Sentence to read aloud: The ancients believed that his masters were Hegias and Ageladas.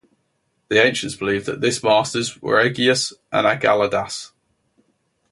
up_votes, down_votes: 2, 2